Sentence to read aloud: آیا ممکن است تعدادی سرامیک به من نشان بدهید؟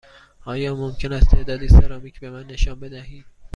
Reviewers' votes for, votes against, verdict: 2, 0, accepted